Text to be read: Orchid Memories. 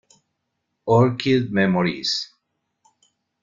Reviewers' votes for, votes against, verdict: 0, 2, rejected